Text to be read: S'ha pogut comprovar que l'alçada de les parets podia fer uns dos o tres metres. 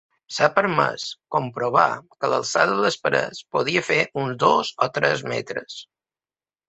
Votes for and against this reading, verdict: 1, 2, rejected